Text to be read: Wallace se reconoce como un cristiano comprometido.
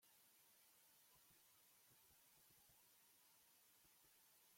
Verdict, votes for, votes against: rejected, 0, 2